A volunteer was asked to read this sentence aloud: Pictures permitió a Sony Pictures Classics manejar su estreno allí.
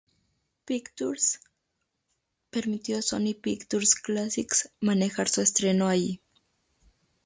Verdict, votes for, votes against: accepted, 2, 0